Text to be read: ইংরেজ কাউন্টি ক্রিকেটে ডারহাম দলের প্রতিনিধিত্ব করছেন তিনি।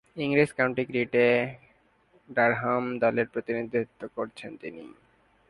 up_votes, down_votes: 2, 1